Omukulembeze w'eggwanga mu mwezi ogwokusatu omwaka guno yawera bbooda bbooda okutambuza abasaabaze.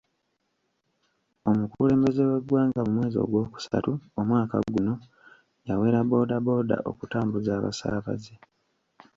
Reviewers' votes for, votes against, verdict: 1, 2, rejected